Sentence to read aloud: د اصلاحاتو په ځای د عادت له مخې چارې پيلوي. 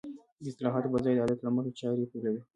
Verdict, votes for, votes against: accepted, 2, 0